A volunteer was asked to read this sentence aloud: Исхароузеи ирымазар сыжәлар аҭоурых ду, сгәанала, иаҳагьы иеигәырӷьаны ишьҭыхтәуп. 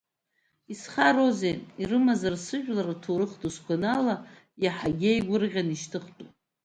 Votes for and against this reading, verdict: 1, 2, rejected